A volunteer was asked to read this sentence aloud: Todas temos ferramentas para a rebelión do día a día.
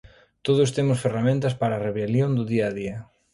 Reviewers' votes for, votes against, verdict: 2, 0, accepted